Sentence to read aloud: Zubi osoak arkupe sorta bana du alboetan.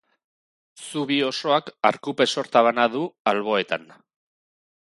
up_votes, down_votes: 2, 0